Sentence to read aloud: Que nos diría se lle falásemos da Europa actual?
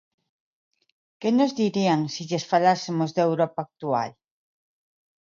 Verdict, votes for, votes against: rejected, 1, 2